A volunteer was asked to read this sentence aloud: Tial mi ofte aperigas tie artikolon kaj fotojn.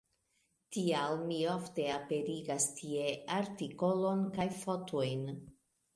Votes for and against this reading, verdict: 2, 0, accepted